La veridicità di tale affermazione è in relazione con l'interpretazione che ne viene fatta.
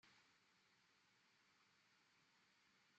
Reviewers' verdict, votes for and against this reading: rejected, 0, 2